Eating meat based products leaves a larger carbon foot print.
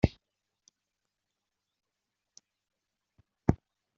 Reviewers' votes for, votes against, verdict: 0, 2, rejected